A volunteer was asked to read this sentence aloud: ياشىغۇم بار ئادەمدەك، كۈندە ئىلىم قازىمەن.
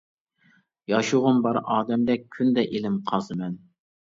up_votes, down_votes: 2, 0